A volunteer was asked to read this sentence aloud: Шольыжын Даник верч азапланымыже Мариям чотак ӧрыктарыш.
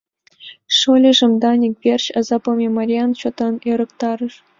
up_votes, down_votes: 1, 2